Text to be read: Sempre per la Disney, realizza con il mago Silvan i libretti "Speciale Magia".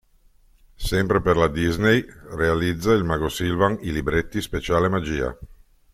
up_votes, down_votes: 1, 2